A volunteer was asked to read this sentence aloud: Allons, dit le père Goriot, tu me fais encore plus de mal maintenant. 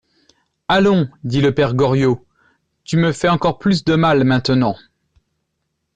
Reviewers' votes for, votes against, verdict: 2, 0, accepted